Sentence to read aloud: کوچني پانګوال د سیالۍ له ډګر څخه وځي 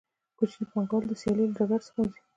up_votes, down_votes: 0, 2